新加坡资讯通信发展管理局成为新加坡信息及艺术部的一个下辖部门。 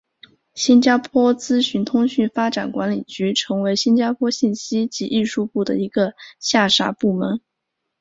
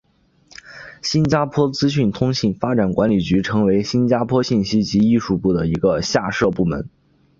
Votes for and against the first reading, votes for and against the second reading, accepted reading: 2, 1, 1, 2, first